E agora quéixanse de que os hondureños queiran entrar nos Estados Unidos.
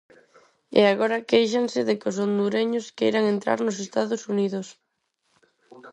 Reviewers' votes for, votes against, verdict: 0, 4, rejected